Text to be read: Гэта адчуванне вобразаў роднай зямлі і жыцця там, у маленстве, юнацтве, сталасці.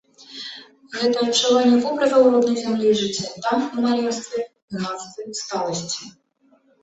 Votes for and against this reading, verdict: 1, 2, rejected